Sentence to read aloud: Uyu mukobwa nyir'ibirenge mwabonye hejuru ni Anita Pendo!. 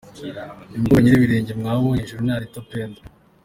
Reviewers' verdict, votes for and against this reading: accepted, 2, 0